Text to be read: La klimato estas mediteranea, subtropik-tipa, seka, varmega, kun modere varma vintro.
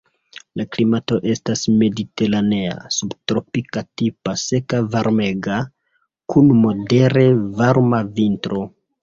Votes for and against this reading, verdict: 2, 1, accepted